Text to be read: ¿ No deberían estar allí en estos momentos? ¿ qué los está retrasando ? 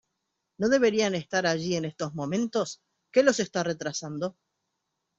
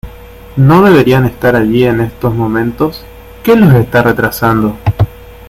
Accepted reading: first